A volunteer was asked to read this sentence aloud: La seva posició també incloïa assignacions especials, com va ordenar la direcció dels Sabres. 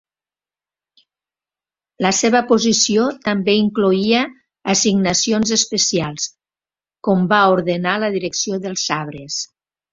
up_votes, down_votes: 1, 2